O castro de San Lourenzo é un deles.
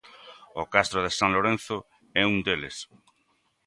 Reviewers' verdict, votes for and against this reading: accepted, 2, 0